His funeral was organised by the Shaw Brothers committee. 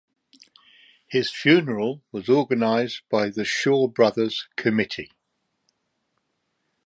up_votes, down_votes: 3, 0